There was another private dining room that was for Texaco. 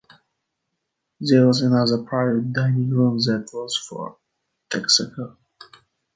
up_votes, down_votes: 2, 1